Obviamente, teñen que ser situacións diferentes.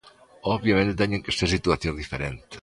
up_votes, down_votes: 0, 2